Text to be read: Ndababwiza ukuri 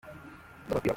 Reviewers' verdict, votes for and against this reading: rejected, 0, 2